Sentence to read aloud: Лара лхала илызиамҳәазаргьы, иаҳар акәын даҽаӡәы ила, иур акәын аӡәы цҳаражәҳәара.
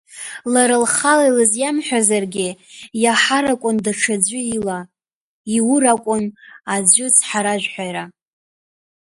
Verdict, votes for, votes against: rejected, 1, 2